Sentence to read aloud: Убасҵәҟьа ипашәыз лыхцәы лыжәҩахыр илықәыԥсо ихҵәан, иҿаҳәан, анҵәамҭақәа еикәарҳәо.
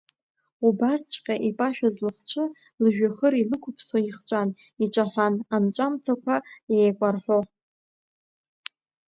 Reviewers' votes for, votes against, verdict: 2, 1, accepted